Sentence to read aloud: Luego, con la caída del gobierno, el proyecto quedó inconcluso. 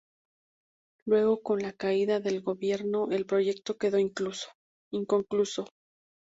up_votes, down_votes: 2, 2